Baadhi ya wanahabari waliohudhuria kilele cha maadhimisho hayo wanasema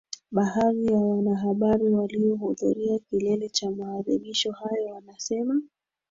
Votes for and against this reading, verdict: 1, 2, rejected